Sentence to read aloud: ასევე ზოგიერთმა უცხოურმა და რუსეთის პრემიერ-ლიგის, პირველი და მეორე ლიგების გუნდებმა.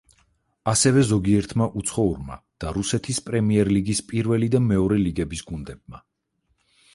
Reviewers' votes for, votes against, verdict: 4, 0, accepted